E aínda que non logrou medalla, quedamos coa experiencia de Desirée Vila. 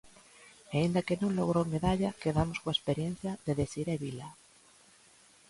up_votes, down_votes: 2, 0